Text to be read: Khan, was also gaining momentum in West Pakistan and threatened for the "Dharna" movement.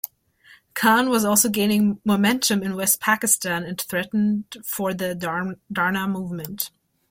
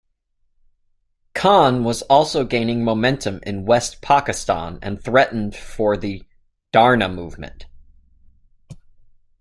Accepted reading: second